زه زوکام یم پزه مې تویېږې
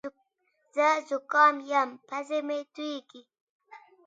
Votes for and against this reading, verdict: 2, 0, accepted